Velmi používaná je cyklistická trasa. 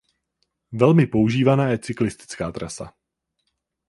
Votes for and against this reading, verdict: 0, 4, rejected